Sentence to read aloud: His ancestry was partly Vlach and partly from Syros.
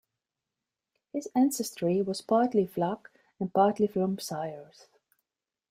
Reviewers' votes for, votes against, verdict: 2, 0, accepted